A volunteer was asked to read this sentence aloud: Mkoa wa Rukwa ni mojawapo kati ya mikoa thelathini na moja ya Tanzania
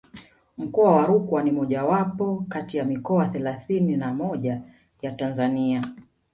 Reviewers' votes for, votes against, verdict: 0, 2, rejected